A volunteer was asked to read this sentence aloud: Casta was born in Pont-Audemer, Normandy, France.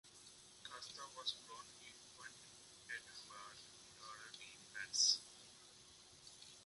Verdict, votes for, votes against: rejected, 1, 2